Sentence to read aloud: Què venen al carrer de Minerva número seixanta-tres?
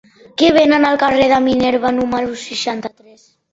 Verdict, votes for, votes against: rejected, 1, 3